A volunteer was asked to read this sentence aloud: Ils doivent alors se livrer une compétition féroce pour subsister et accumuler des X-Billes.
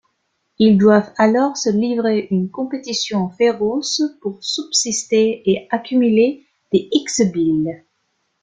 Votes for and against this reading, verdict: 2, 0, accepted